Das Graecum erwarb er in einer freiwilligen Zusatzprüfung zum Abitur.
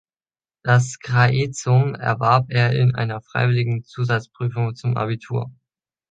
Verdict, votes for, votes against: accepted, 2, 0